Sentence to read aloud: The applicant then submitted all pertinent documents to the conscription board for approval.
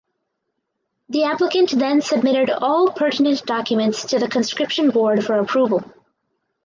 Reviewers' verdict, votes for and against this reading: accepted, 4, 0